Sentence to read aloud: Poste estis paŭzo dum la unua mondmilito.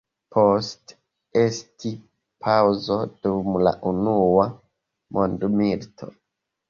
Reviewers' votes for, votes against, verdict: 2, 0, accepted